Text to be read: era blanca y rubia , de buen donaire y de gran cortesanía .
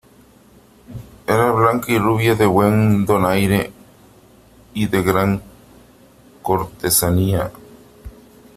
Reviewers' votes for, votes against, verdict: 2, 1, accepted